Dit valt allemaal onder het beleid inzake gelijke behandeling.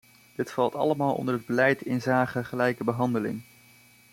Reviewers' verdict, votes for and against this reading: rejected, 1, 2